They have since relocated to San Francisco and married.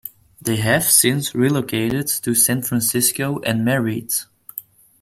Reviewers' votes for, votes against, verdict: 2, 0, accepted